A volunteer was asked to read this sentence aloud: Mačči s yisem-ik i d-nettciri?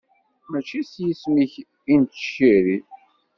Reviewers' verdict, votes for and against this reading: rejected, 1, 2